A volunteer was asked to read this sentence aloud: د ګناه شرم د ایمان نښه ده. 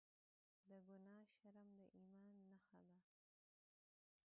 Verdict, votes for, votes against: rejected, 1, 2